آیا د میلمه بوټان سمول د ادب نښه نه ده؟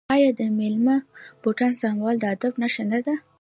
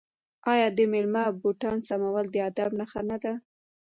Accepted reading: first